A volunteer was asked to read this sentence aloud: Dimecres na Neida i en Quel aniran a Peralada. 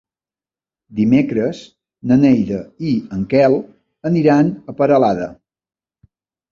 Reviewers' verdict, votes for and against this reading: accepted, 4, 0